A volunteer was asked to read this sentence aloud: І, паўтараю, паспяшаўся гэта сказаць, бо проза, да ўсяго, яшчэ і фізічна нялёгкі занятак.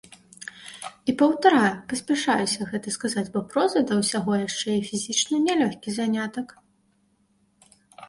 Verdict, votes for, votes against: rejected, 1, 2